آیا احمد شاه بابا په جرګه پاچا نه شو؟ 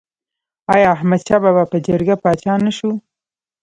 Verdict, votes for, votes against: accepted, 2, 1